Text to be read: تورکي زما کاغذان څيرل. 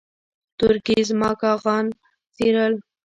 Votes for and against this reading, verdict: 2, 0, accepted